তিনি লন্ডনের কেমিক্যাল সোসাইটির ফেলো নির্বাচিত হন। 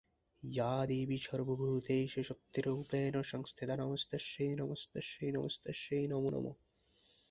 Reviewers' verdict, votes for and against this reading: rejected, 0, 4